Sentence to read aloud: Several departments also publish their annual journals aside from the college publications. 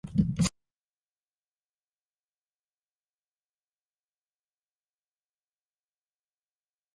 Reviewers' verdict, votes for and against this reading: rejected, 0, 2